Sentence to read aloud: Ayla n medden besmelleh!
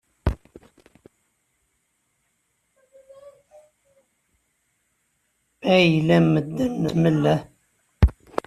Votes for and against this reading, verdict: 1, 2, rejected